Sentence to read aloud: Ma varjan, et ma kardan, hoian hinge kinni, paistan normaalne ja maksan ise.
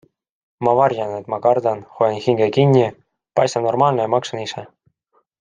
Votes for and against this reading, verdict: 3, 0, accepted